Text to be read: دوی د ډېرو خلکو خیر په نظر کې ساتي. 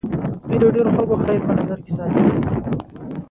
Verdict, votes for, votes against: rejected, 1, 2